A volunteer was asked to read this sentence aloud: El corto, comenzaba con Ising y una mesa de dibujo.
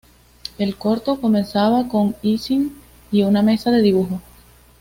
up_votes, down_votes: 2, 0